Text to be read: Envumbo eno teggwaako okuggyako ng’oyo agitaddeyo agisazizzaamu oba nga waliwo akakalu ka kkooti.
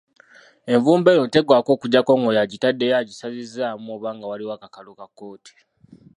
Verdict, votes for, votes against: rejected, 1, 2